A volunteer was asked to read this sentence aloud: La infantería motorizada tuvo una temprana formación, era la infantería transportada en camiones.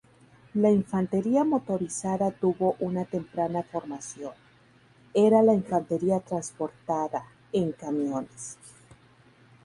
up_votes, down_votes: 2, 2